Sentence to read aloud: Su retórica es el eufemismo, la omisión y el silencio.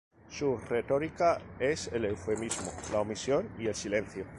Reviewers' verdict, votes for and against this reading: accepted, 2, 0